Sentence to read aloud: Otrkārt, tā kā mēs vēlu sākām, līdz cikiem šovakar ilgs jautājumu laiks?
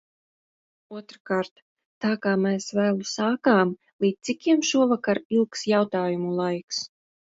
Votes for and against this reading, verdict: 2, 0, accepted